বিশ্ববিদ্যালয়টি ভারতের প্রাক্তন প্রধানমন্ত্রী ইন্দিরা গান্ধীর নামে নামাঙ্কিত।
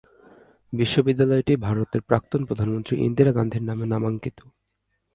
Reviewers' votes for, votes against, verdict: 2, 0, accepted